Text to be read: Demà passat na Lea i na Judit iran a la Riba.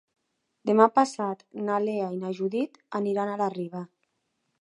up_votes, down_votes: 0, 4